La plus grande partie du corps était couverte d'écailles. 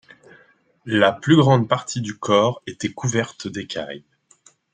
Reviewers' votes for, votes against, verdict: 2, 0, accepted